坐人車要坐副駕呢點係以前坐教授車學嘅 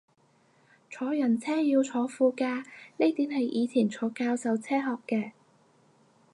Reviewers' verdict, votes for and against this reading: accepted, 4, 0